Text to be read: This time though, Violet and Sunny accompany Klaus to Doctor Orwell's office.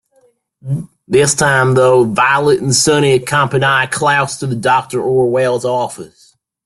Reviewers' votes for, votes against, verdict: 2, 1, accepted